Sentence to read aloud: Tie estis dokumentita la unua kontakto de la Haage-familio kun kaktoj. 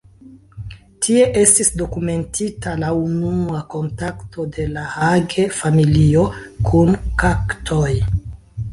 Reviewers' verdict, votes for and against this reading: rejected, 1, 2